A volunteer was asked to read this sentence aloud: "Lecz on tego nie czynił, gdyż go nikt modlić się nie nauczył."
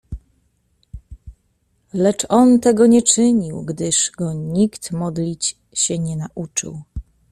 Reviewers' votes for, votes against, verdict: 2, 0, accepted